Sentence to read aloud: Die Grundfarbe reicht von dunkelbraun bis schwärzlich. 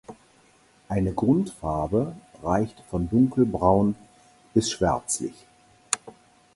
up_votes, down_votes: 0, 4